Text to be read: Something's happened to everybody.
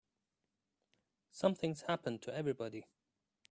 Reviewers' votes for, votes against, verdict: 3, 0, accepted